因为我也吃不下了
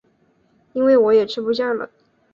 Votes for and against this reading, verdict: 2, 0, accepted